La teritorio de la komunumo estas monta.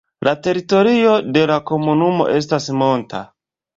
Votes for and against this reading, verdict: 2, 1, accepted